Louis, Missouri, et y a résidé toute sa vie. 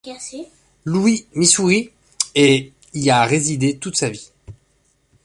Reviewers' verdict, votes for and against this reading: rejected, 0, 2